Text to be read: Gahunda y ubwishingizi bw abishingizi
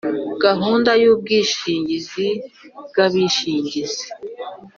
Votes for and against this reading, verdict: 5, 0, accepted